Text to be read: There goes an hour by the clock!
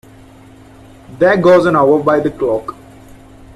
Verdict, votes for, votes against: accepted, 2, 1